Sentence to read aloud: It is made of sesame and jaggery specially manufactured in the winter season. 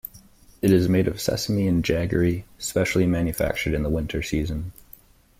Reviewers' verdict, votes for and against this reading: accepted, 2, 0